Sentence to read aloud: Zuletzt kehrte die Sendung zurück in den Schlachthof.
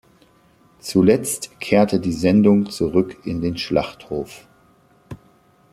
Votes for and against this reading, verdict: 2, 0, accepted